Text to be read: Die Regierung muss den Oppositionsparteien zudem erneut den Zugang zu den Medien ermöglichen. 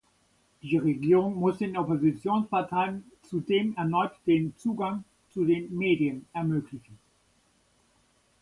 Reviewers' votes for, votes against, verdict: 1, 2, rejected